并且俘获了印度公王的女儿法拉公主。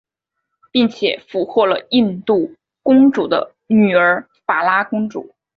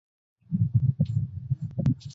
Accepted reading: first